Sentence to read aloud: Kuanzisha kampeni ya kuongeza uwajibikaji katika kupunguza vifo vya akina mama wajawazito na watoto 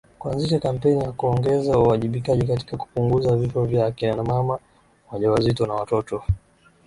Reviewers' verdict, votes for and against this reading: accepted, 2, 0